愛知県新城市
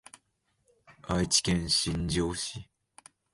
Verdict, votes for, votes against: accepted, 2, 1